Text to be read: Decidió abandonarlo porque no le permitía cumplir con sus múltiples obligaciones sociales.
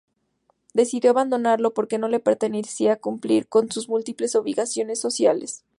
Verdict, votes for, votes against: rejected, 0, 2